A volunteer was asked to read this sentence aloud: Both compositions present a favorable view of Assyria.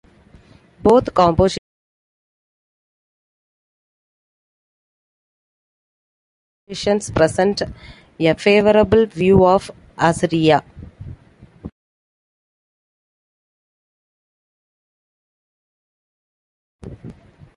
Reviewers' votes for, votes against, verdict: 0, 2, rejected